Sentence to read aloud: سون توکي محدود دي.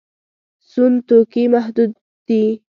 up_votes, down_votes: 1, 2